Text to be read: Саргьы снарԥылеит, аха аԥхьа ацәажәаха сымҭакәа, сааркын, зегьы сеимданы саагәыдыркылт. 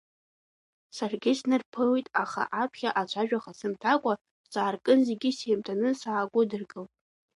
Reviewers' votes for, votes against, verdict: 2, 1, accepted